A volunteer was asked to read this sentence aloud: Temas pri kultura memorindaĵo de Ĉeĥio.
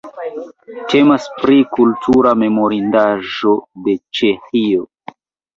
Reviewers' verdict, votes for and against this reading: rejected, 0, 2